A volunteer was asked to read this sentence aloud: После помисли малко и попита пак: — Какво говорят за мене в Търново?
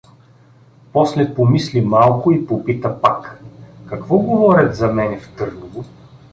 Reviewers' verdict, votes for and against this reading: accepted, 2, 0